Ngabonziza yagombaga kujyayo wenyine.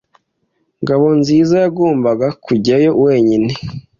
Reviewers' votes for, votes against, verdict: 2, 0, accepted